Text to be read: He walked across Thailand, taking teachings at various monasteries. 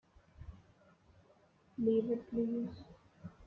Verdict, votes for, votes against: rejected, 0, 2